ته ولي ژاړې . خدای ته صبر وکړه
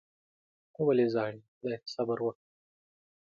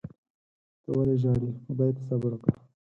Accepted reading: second